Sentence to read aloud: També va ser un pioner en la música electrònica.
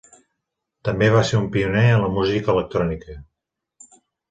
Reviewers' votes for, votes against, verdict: 3, 0, accepted